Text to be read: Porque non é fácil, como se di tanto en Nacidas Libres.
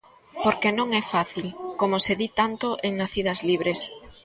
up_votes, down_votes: 1, 2